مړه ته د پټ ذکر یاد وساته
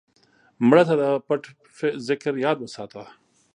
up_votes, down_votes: 1, 2